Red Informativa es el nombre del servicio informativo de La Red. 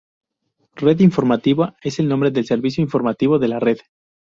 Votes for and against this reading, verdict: 2, 0, accepted